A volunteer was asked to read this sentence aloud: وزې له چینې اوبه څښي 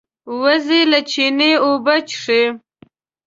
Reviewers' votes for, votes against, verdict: 2, 0, accepted